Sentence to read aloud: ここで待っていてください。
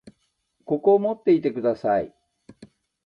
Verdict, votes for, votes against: rejected, 0, 2